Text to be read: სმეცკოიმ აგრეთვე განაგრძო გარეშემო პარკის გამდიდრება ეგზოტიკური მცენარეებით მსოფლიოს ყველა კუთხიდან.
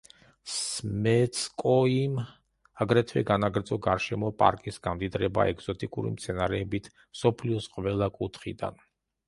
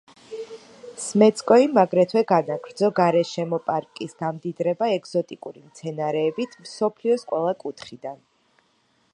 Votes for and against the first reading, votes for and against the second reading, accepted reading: 1, 2, 2, 0, second